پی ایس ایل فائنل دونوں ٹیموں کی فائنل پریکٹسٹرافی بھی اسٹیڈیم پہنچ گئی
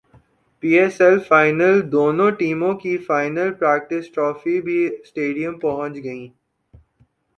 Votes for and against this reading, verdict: 2, 0, accepted